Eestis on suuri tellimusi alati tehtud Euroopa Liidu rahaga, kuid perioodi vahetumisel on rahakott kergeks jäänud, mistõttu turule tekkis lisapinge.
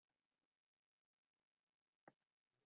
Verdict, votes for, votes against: rejected, 0, 2